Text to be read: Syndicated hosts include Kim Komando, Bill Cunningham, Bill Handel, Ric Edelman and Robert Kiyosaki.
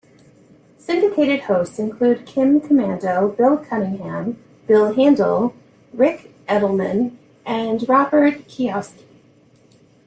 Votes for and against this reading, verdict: 2, 0, accepted